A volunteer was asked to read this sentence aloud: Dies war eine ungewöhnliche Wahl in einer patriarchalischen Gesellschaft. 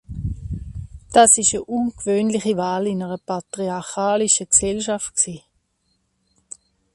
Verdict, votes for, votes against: rejected, 0, 2